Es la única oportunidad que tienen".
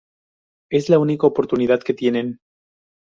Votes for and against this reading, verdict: 0, 2, rejected